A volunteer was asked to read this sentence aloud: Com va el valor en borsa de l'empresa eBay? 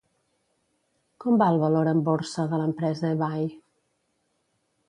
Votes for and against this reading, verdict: 2, 0, accepted